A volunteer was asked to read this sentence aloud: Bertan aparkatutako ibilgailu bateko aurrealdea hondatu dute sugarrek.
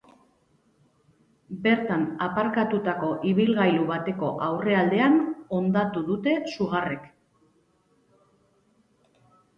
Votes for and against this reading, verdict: 1, 2, rejected